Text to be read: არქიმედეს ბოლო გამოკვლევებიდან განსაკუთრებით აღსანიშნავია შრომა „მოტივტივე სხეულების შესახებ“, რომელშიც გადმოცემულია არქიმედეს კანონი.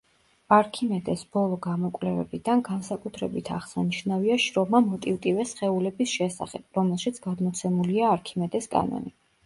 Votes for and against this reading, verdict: 2, 0, accepted